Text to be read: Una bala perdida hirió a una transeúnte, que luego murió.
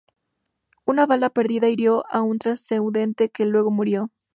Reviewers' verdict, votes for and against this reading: rejected, 0, 2